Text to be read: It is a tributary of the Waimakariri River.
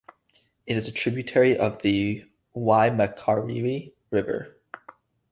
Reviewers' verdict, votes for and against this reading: accepted, 2, 0